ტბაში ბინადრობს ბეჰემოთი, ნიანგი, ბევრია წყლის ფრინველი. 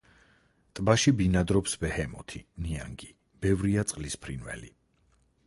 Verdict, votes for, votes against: accepted, 4, 0